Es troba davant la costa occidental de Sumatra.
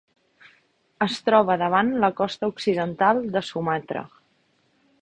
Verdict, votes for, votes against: accepted, 3, 0